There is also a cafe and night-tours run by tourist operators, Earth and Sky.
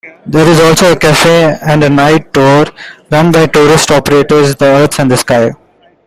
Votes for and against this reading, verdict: 2, 0, accepted